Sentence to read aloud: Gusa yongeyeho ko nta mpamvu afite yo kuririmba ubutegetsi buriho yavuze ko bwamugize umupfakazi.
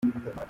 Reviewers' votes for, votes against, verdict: 1, 2, rejected